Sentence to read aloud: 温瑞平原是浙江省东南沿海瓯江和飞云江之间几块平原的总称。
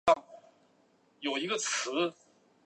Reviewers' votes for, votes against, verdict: 2, 0, accepted